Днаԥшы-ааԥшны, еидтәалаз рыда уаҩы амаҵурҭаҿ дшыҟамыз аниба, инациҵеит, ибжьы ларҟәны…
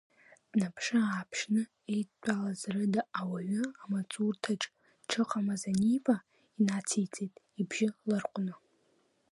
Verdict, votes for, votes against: accepted, 2, 1